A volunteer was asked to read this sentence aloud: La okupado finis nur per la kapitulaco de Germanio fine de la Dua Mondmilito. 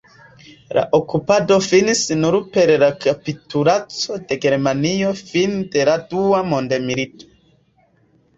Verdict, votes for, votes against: rejected, 2, 3